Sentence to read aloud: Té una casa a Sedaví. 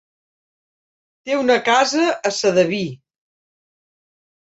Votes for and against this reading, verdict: 4, 0, accepted